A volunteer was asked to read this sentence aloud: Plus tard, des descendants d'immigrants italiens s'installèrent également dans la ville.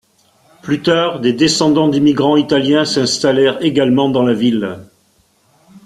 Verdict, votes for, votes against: accepted, 2, 0